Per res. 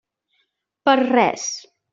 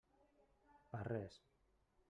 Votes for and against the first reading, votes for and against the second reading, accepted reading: 3, 0, 0, 2, first